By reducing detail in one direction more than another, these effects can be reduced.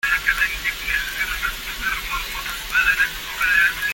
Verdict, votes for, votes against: rejected, 0, 2